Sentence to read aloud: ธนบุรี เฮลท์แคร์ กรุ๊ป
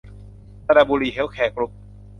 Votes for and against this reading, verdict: 0, 2, rejected